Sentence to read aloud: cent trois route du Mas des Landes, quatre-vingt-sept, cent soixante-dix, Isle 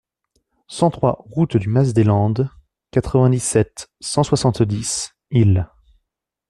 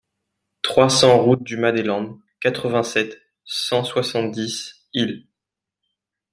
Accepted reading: first